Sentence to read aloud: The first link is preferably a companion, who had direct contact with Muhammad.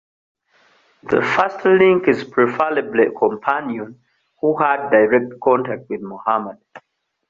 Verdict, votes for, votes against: rejected, 1, 2